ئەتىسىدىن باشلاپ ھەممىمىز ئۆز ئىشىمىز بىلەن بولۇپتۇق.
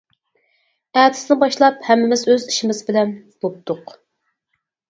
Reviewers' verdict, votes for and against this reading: rejected, 2, 4